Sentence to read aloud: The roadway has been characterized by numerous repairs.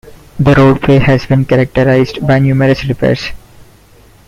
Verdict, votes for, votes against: accepted, 2, 0